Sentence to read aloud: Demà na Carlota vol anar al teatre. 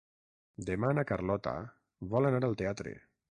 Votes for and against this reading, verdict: 3, 3, rejected